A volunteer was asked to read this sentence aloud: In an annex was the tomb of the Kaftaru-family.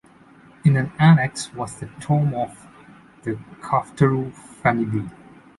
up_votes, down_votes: 1, 2